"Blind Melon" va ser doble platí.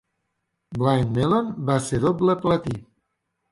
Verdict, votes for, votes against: accepted, 3, 0